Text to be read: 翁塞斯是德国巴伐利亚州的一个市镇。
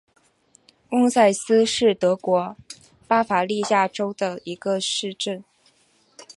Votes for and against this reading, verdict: 4, 0, accepted